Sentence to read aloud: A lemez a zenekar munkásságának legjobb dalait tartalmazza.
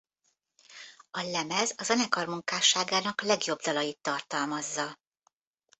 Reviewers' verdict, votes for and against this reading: accepted, 2, 0